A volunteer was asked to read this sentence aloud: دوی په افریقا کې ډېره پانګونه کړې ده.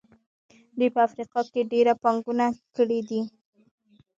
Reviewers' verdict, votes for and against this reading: accepted, 2, 1